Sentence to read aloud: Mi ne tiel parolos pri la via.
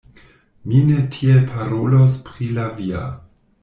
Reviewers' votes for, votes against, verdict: 1, 2, rejected